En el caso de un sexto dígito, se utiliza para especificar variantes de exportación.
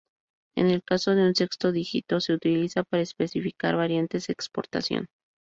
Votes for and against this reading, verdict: 2, 0, accepted